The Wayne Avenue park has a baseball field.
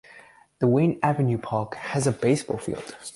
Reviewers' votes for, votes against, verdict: 2, 0, accepted